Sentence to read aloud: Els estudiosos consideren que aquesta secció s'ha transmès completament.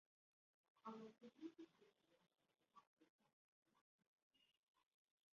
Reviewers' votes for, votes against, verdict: 0, 2, rejected